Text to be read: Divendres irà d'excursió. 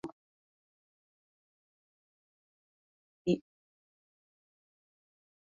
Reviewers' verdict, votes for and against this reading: rejected, 1, 2